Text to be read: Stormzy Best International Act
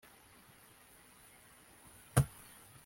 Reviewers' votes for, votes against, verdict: 1, 2, rejected